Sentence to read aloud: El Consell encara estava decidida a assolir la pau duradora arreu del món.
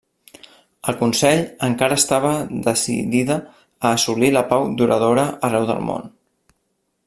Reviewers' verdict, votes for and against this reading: rejected, 0, 2